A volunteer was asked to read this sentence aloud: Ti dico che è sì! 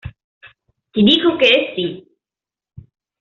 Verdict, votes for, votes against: accepted, 2, 1